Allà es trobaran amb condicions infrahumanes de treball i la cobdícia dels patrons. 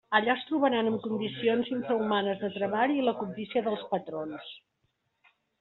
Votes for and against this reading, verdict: 2, 1, accepted